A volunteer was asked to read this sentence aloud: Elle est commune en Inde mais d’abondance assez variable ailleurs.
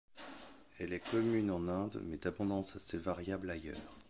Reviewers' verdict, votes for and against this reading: accepted, 2, 0